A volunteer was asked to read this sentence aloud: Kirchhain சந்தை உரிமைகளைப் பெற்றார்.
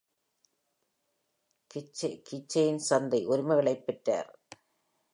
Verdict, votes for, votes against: rejected, 0, 2